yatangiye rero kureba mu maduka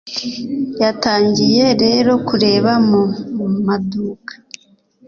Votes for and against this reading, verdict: 2, 0, accepted